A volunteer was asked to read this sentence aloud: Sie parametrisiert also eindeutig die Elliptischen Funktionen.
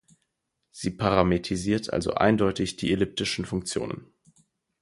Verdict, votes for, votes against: rejected, 2, 4